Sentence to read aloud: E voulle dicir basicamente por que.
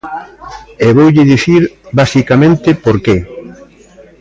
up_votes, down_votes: 2, 0